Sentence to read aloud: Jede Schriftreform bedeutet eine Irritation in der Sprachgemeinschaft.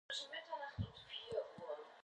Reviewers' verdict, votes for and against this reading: rejected, 0, 2